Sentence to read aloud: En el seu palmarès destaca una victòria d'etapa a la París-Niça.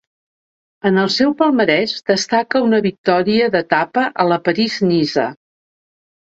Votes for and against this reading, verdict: 2, 0, accepted